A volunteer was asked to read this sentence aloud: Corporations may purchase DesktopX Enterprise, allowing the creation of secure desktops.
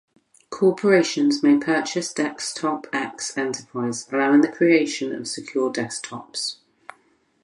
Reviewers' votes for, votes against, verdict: 2, 2, rejected